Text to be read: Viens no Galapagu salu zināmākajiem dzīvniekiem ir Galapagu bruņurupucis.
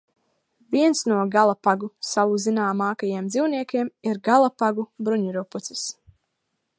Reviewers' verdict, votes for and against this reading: accepted, 2, 0